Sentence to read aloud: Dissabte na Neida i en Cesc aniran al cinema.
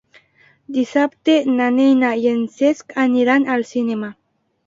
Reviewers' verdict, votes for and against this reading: rejected, 1, 2